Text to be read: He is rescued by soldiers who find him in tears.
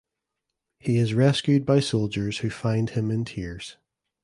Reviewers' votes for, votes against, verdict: 2, 0, accepted